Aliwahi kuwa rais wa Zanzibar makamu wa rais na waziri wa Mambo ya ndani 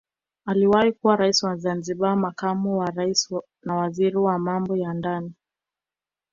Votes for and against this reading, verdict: 1, 2, rejected